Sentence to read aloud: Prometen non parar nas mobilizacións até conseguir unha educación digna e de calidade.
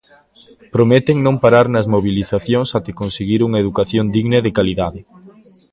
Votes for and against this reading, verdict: 1, 2, rejected